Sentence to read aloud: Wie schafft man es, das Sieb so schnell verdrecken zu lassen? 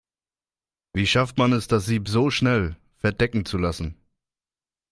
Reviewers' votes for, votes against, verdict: 0, 2, rejected